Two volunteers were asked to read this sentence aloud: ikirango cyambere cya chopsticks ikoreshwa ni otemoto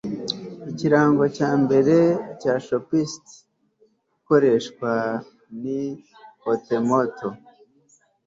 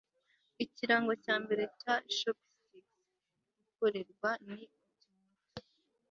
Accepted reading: first